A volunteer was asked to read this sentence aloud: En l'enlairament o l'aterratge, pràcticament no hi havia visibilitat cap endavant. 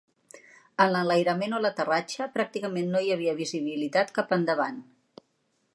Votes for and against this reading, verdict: 2, 0, accepted